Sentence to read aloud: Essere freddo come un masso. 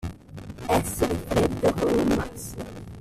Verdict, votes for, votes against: rejected, 0, 2